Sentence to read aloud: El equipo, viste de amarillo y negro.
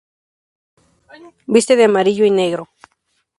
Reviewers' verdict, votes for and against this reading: rejected, 0, 2